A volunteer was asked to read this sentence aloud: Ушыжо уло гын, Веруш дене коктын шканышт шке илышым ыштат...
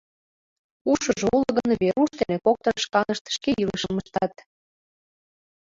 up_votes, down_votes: 0, 2